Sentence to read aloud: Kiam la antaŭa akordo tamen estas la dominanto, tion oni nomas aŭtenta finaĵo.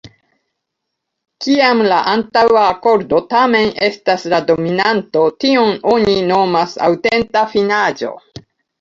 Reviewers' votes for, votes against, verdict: 1, 2, rejected